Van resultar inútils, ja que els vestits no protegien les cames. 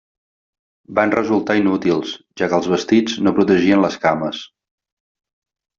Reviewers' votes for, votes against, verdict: 3, 0, accepted